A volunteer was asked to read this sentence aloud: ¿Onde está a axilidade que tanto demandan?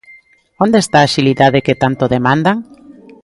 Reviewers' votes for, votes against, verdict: 1, 2, rejected